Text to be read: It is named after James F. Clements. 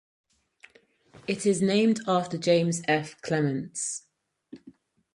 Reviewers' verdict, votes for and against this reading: accepted, 4, 0